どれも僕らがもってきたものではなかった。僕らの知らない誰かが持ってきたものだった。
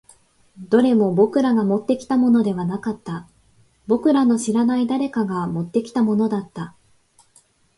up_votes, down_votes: 3, 0